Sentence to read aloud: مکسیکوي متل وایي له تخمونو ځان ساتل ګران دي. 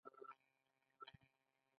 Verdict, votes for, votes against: rejected, 1, 2